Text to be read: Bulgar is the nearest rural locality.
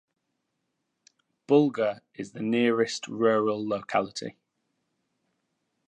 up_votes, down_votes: 2, 0